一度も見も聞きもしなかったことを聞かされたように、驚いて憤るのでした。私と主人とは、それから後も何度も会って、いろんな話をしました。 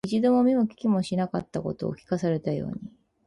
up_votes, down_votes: 0, 4